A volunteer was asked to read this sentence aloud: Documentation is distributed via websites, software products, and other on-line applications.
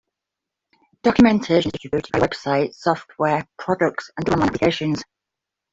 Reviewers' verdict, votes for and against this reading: accepted, 2, 1